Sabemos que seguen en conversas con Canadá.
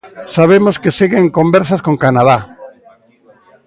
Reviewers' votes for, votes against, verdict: 1, 2, rejected